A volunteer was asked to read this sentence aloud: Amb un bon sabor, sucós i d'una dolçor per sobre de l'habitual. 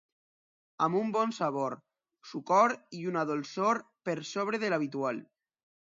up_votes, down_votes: 1, 2